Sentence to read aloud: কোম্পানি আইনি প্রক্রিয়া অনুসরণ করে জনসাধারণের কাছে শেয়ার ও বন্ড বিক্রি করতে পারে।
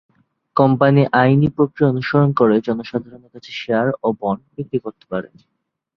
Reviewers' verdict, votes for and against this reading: rejected, 2, 3